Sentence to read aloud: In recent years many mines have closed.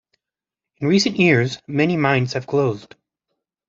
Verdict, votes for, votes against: accepted, 2, 0